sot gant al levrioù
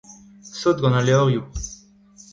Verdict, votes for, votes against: accepted, 2, 0